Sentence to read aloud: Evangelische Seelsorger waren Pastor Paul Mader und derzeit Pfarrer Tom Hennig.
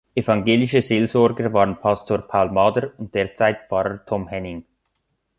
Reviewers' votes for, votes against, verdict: 1, 2, rejected